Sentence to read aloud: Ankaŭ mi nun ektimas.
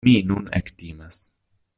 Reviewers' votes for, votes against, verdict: 0, 2, rejected